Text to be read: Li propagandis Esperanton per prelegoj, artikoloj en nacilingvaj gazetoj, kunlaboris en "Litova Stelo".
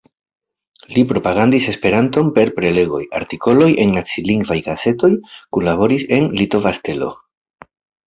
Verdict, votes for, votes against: rejected, 0, 2